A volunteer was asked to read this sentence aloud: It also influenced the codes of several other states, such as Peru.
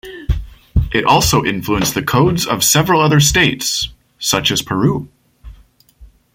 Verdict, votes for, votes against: rejected, 1, 2